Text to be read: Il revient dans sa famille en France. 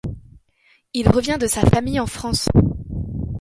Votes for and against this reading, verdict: 0, 2, rejected